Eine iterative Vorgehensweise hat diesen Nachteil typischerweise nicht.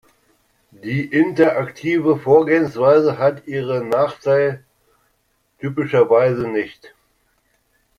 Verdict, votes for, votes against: rejected, 0, 2